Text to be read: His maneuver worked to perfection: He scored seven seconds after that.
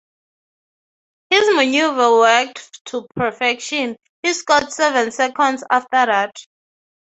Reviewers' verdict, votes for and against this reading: accepted, 3, 0